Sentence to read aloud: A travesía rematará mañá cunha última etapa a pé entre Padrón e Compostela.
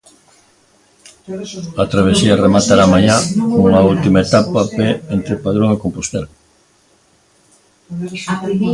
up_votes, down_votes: 1, 2